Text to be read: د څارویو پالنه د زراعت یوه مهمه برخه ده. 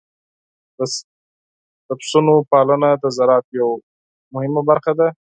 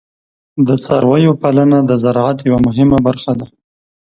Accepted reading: second